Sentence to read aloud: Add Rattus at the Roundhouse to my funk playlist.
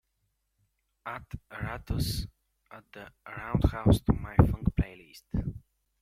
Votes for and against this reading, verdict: 2, 0, accepted